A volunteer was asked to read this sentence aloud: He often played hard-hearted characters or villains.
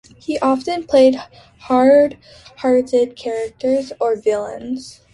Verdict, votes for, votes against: accepted, 2, 0